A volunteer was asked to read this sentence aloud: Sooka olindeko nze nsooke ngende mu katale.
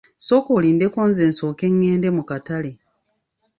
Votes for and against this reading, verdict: 2, 0, accepted